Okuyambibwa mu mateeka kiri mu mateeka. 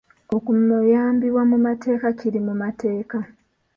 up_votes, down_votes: 1, 2